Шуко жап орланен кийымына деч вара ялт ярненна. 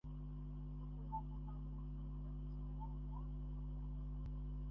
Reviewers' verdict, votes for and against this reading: rejected, 0, 2